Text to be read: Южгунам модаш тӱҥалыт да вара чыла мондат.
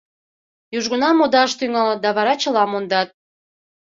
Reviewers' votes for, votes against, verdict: 2, 0, accepted